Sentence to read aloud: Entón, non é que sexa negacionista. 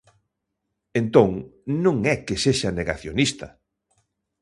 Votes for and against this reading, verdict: 2, 0, accepted